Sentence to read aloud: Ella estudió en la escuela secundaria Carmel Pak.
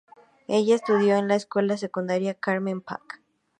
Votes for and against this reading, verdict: 2, 0, accepted